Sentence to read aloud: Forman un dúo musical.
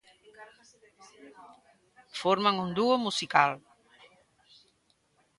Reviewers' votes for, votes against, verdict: 2, 0, accepted